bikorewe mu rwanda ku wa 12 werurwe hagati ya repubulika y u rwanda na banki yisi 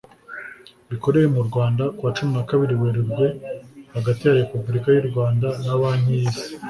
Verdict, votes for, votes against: rejected, 0, 2